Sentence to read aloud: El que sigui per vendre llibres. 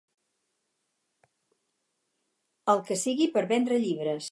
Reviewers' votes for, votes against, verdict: 2, 0, accepted